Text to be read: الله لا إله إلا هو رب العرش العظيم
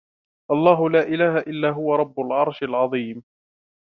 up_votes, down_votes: 2, 0